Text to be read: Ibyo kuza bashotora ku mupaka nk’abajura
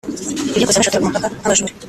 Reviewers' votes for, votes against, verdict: 1, 2, rejected